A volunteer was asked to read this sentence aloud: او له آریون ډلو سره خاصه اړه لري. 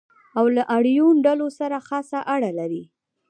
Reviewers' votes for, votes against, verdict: 2, 1, accepted